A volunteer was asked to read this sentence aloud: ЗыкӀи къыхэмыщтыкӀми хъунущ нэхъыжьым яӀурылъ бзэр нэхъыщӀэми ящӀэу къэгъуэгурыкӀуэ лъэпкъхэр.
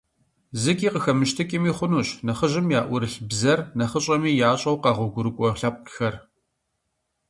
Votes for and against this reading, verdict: 2, 0, accepted